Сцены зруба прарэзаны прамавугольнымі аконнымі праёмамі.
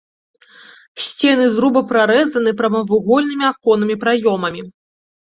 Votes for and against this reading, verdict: 2, 0, accepted